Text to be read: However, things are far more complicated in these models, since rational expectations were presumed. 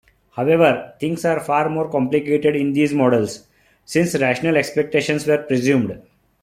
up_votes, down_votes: 2, 0